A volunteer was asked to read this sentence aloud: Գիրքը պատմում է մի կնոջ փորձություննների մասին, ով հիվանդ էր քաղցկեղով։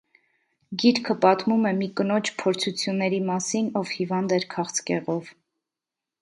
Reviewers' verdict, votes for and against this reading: accepted, 2, 1